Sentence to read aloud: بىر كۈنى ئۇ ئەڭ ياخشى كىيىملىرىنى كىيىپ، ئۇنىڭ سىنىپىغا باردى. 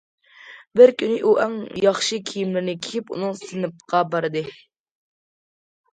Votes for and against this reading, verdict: 0, 2, rejected